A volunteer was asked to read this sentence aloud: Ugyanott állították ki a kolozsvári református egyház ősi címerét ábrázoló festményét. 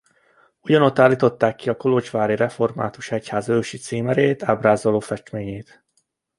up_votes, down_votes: 2, 0